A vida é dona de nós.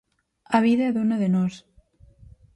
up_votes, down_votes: 4, 0